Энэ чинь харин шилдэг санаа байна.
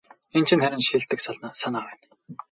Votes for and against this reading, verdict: 2, 2, rejected